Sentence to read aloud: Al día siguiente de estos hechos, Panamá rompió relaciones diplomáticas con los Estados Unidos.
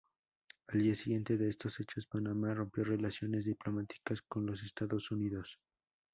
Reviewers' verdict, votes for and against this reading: accepted, 2, 0